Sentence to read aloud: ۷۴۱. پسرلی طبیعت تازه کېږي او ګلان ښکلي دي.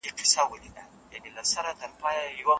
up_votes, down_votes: 0, 2